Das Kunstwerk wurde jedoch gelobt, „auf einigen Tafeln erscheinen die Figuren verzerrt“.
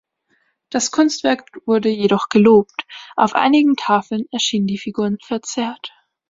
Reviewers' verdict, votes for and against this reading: rejected, 4, 5